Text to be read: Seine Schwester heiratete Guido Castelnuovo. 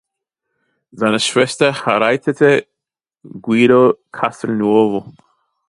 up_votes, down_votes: 1, 2